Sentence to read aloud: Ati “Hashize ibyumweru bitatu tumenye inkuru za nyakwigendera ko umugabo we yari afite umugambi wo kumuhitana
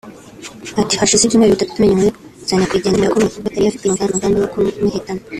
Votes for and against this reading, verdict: 0, 2, rejected